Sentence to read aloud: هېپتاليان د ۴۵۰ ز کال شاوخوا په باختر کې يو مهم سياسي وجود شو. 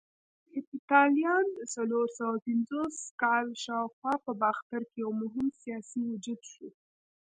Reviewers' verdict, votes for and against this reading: rejected, 0, 2